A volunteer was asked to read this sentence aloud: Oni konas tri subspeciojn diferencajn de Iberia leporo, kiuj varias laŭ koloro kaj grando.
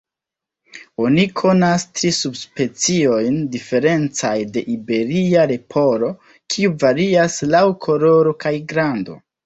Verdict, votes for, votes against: rejected, 0, 2